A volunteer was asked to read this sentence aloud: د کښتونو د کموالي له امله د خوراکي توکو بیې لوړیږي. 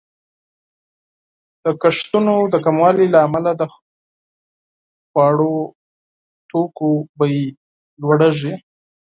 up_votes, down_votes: 0, 4